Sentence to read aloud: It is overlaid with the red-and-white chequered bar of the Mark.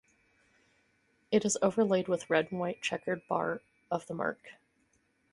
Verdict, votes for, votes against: rejected, 2, 4